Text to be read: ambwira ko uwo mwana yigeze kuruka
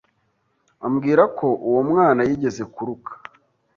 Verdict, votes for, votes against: accepted, 2, 0